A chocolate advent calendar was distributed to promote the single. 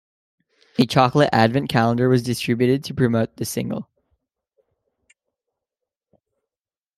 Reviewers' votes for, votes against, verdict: 2, 0, accepted